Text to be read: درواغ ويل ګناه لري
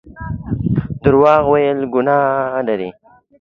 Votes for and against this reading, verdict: 2, 1, accepted